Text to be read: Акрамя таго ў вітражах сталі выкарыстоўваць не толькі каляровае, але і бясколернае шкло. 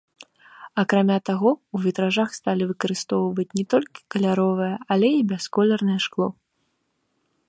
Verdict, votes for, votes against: accepted, 3, 0